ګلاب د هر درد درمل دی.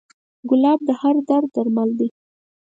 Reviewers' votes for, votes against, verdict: 4, 0, accepted